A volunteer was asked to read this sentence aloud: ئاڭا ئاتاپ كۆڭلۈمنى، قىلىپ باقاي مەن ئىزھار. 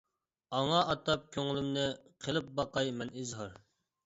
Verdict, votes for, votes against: accepted, 2, 0